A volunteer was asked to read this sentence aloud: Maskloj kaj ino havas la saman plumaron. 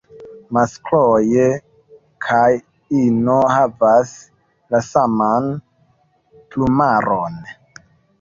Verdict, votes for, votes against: rejected, 0, 2